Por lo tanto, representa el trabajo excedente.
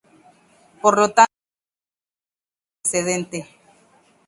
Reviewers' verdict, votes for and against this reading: rejected, 0, 2